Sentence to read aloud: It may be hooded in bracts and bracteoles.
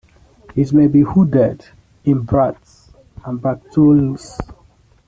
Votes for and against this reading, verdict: 0, 2, rejected